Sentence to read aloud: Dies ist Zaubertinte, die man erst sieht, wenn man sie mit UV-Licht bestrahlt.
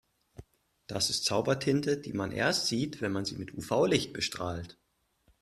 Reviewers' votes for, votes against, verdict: 0, 2, rejected